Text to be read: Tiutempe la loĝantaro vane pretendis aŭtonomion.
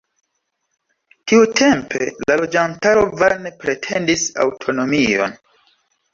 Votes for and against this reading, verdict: 0, 2, rejected